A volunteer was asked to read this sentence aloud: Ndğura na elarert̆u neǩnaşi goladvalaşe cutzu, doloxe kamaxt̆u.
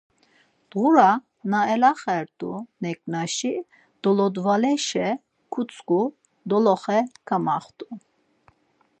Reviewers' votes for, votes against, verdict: 2, 4, rejected